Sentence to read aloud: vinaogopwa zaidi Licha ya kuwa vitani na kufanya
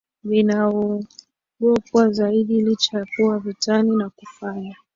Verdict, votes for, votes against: accepted, 10, 1